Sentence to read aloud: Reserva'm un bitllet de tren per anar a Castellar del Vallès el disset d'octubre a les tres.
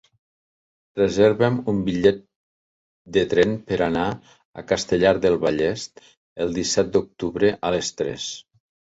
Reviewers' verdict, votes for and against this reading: accepted, 2, 0